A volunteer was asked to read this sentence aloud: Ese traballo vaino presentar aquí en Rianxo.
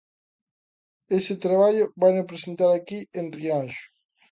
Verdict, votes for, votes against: accepted, 2, 0